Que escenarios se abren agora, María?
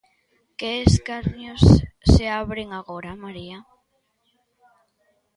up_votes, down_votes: 0, 2